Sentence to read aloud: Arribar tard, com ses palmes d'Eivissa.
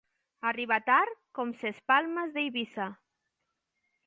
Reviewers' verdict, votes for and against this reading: accepted, 2, 0